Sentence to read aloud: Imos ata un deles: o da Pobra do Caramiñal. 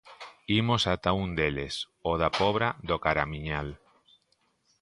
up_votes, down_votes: 2, 0